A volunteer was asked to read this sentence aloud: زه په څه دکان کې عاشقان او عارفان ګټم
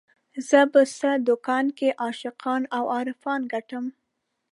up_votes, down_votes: 2, 0